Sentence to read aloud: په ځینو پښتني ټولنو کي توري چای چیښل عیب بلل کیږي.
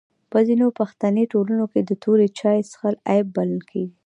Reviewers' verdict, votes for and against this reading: accepted, 2, 0